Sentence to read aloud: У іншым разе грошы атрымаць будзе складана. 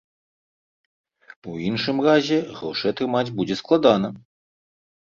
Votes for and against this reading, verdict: 2, 0, accepted